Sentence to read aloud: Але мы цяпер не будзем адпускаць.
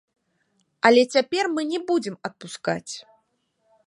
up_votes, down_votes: 2, 0